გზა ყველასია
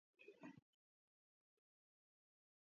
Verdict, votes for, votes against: accepted, 2, 1